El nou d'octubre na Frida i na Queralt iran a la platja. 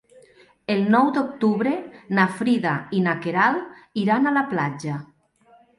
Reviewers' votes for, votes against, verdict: 2, 0, accepted